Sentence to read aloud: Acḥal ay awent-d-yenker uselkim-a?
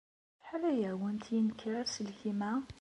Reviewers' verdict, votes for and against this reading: accepted, 2, 0